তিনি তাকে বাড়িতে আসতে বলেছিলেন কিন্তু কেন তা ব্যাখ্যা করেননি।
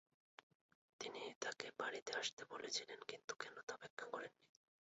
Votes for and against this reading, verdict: 11, 13, rejected